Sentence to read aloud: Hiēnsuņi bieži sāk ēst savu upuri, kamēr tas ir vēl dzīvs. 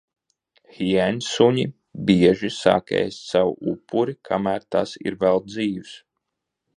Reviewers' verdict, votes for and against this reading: accepted, 2, 0